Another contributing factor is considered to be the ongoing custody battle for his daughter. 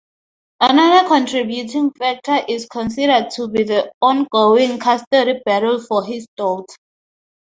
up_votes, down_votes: 2, 2